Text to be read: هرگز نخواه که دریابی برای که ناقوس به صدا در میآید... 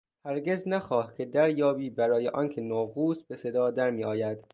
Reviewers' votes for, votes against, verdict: 1, 2, rejected